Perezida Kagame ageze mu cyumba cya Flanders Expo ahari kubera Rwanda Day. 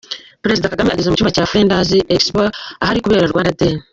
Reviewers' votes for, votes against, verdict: 1, 2, rejected